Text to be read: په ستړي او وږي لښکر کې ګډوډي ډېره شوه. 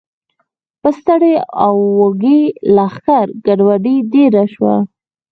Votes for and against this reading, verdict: 2, 4, rejected